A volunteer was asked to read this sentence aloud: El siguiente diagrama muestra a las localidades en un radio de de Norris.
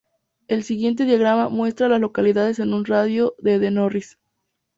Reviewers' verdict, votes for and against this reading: accepted, 2, 0